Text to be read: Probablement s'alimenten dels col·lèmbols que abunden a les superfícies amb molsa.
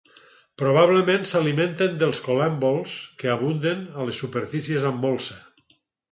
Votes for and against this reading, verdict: 4, 0, accepted